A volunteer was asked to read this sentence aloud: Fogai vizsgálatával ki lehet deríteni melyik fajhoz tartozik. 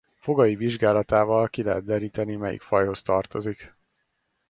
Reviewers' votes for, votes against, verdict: 2, 0, accepted